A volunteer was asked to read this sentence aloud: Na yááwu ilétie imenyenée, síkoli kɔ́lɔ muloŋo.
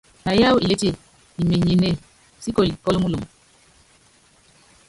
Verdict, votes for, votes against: rejected, 0, 3